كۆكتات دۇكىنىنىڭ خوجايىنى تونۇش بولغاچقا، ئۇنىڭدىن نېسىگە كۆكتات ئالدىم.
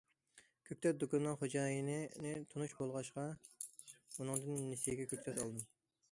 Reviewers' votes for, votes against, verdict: 0, 2, rejected